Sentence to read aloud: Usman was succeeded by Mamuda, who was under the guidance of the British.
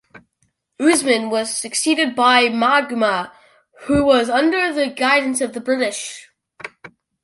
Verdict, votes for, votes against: rejected, 1, 2